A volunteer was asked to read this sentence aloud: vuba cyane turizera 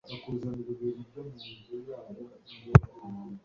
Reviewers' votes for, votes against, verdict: 1, 2, rejected